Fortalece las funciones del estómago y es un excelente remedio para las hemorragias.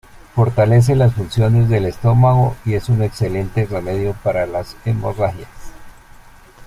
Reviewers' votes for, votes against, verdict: 2, 0, accepted